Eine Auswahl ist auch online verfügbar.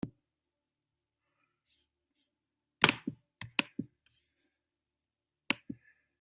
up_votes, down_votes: 0, 2